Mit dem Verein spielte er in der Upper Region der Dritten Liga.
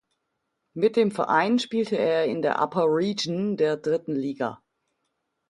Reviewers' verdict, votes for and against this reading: accepted, 2, 0